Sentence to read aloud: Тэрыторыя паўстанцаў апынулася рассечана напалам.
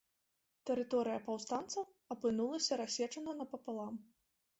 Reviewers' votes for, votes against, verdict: 0, 2, rejected